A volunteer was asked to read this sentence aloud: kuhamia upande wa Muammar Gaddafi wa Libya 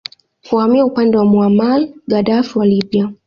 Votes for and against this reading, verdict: 0, 2, rejected